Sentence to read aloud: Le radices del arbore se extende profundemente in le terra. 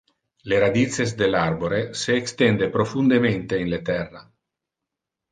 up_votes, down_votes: 2, 0